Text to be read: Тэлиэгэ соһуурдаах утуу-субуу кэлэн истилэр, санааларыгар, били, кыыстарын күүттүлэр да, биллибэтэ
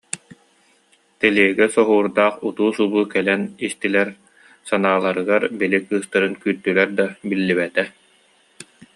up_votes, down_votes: 2, 0